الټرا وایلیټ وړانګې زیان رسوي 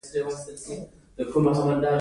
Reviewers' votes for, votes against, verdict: 1, 2, rejected